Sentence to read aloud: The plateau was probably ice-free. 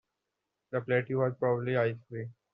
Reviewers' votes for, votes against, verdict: 2, 1, accepted